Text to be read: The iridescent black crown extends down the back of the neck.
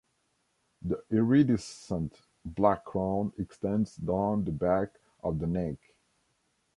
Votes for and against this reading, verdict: 2, 1, accepted